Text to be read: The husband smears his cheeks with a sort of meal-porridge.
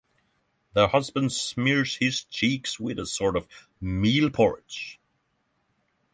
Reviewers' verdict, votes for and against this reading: accepted, 6, 0